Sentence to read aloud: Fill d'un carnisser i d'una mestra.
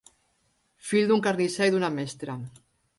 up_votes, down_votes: 3, 0